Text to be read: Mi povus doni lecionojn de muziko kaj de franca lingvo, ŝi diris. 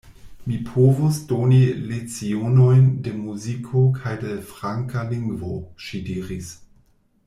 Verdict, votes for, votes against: rejected, 0, 2